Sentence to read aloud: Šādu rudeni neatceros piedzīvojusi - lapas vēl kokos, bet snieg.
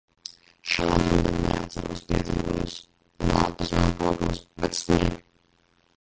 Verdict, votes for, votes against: rejected, 0, 2